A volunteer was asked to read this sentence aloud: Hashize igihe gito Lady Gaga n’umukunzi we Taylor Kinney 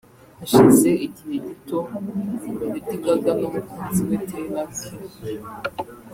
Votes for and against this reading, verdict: 0, 2, rejected